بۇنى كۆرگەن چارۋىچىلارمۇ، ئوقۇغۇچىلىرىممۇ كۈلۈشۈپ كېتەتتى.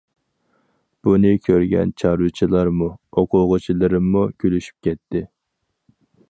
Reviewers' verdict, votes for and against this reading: rejected, 2, 4